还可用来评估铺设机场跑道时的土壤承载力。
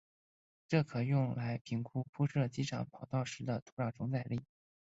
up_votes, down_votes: 2, 4